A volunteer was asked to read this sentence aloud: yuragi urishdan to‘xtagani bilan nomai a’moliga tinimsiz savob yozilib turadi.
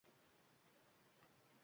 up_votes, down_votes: 1, 2